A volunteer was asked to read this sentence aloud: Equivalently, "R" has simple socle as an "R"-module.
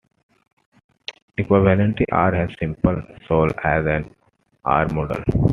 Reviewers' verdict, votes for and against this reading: rejected, 0, 2